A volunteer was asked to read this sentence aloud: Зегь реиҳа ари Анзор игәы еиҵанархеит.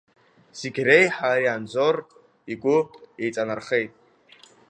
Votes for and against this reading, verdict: 2, 0, accepted